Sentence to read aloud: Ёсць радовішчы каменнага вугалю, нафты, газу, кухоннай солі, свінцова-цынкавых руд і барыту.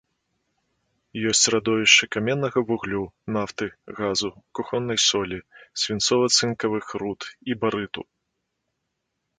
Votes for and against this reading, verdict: 0, 2, rejected